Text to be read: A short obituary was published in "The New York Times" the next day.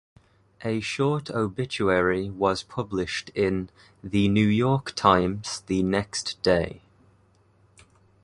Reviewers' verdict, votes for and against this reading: accepted, 2, 0